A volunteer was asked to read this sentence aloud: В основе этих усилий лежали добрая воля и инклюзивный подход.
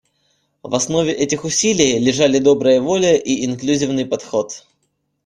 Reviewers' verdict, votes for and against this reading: rejected, 1, 2